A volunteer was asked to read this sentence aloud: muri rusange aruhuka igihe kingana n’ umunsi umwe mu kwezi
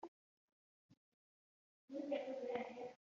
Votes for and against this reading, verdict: 0, 3, rejected